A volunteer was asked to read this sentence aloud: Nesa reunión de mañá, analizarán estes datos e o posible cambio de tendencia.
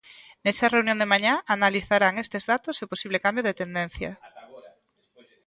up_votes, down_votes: 1, 2